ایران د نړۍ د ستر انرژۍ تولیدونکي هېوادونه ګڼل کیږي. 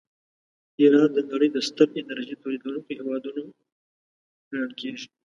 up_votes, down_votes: 2, 0